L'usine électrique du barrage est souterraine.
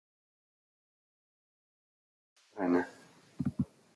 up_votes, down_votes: 1, 2